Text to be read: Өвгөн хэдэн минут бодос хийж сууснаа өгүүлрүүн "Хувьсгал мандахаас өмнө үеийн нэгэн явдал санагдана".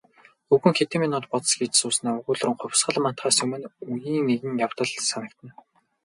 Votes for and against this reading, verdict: 0, 2, rejected